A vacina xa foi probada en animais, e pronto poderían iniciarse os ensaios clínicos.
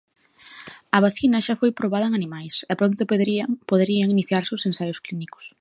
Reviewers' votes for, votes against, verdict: 1, 2, rejected